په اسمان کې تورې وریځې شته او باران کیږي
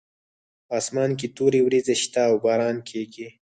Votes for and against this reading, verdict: 2, 4, rejected